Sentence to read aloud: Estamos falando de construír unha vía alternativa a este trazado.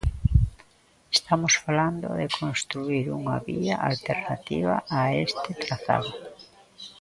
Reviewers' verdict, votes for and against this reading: rejected, 0, 2